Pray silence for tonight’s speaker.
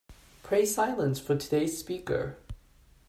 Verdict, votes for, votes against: rejected, 1, 2